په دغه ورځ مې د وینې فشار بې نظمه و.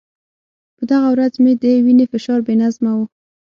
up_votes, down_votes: 6, 0